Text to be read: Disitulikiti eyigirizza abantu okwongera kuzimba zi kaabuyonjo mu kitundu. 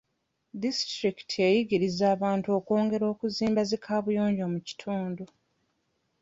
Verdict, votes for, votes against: rejected, 0, 2